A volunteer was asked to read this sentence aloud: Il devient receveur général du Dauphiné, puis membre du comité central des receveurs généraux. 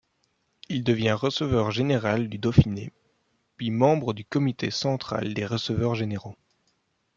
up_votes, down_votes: 2, 0